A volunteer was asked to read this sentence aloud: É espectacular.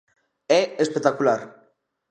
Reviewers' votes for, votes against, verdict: 2, 0, accepted